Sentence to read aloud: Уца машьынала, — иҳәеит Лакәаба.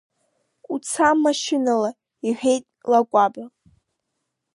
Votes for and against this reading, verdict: 3, 1, accepted